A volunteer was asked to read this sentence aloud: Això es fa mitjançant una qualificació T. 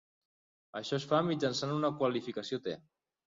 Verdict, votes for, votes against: accepted, 3, 0